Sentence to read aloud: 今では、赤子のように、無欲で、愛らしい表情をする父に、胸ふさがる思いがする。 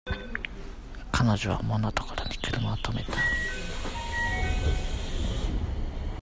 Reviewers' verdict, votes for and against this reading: rejected, 0, 2